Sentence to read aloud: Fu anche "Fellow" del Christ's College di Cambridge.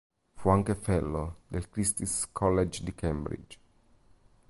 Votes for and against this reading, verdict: 0, 2, rejected